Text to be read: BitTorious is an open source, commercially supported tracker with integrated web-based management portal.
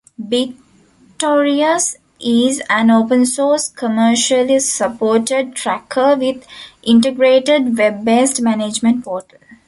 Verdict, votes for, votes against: accepted, 3, 1